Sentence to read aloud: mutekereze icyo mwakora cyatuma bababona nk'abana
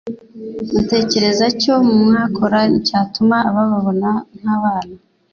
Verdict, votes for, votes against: rejected, 1, 2